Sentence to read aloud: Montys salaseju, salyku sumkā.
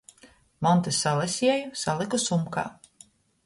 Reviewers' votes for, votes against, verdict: 2, 0, accepted